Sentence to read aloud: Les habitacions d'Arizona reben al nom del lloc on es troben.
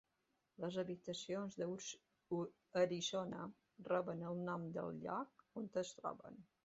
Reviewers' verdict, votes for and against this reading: rejected, 1, 2